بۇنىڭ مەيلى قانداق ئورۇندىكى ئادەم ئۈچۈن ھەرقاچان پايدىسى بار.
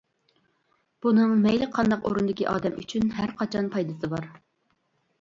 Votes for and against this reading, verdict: 2, 0, accepted